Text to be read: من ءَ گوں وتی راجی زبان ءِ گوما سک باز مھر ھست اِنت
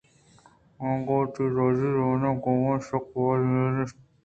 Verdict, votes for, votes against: accepted, 2, 0